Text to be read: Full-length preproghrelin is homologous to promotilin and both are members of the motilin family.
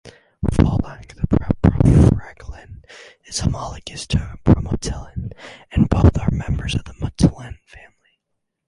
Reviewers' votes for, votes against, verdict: 0, 2, rejected